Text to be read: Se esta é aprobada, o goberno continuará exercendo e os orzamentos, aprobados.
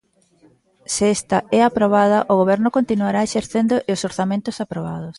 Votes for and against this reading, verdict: 2, 0, accepted